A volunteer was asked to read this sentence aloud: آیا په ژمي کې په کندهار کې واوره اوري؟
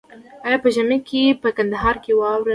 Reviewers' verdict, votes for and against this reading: accepted, 2, 1